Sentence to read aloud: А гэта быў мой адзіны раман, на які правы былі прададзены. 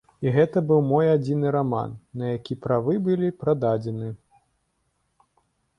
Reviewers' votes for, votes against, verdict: 1, 2, rejected